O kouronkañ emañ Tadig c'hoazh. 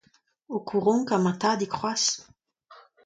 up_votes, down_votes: 2, 0